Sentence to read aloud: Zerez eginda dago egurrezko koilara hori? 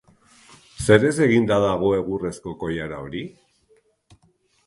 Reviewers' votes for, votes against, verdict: 2, 0, accepted